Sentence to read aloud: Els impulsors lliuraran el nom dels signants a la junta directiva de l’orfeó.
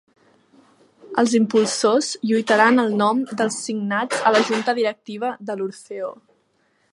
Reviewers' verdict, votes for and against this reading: rejected, 0, 2